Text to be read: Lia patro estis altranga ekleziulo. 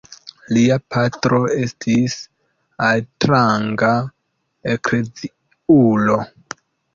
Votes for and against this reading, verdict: 2, 1, accepted